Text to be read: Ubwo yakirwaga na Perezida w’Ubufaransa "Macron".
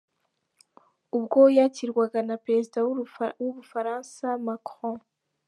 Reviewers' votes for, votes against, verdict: 1, 2, rejected